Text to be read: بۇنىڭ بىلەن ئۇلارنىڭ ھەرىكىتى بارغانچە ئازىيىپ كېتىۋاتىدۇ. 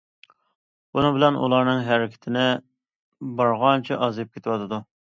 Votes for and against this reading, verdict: 0, 2, rejected